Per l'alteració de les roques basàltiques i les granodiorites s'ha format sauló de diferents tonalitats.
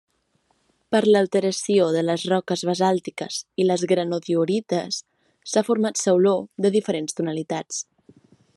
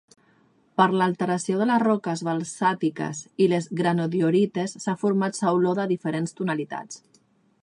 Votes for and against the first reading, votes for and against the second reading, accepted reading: 2, 0, 0, 2, first